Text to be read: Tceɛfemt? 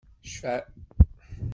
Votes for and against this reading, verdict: 1, 2, rejected